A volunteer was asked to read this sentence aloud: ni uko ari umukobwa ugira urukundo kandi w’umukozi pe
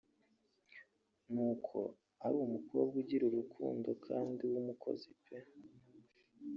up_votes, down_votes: 0, 2